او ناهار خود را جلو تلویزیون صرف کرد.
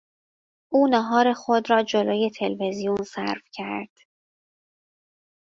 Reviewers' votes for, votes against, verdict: 2, 0, accepted